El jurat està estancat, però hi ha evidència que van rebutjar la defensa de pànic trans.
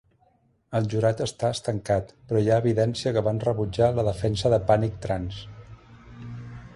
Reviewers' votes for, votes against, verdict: 2, 0, accepted